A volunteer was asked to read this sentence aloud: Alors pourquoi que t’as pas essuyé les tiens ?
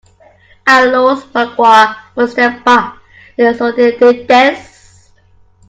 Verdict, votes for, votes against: rejected, 0, 2